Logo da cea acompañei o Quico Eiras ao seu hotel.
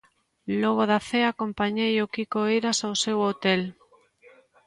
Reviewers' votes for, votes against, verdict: 2, 0, accepted